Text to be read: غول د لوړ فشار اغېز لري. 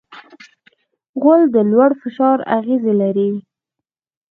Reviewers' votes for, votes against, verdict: 2, 0, accepted